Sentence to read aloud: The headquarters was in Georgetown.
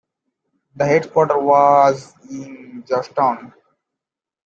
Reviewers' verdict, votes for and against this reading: accepted, 2, 1